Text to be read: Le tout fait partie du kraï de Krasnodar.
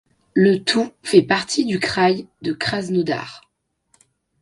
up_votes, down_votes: 1, 2